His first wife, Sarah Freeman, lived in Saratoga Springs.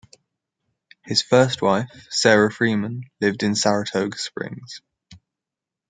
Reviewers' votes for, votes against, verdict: 2, 0, accepted